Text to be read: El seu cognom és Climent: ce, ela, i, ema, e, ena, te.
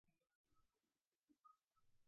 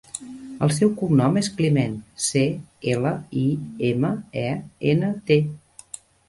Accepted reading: second